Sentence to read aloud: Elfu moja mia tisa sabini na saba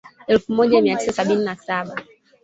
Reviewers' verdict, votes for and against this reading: rejected, 1, 2